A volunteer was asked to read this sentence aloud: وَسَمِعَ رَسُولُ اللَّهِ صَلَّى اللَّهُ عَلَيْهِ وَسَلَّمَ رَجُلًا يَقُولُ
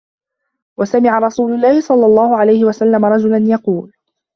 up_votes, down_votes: 2, 0